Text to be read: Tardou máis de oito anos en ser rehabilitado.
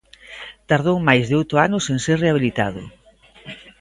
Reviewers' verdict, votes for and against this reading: accepted, 2, 0